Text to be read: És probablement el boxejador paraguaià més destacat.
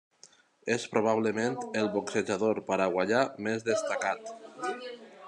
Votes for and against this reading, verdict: 4, 0, accepted